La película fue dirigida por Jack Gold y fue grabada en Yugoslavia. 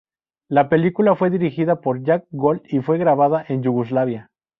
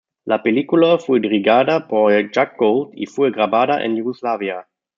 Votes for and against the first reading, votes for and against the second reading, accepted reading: 2, 0, 1, 2, first